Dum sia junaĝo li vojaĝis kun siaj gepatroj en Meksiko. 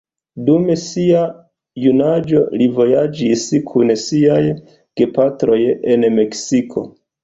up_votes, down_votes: 2, 0